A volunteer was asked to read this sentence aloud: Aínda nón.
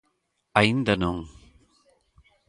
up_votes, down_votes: 2, 0